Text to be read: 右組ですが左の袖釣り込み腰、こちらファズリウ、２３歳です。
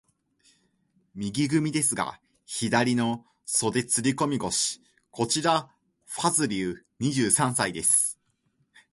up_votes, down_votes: 0, 2